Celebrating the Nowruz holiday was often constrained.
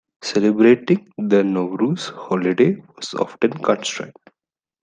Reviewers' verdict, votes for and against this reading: accepted, 2, 1